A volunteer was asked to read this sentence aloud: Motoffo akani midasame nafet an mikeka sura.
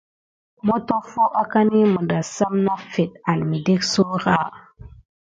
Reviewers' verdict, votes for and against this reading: accepted, 2, 0